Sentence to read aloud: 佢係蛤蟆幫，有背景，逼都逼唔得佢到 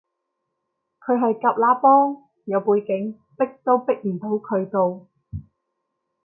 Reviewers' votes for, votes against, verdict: 0, 2, rejected